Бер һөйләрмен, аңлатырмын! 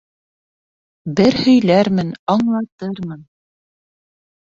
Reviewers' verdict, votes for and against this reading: accepted, 2, 1